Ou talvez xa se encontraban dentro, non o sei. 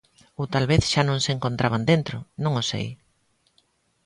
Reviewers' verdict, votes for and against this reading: rejected, 1, 2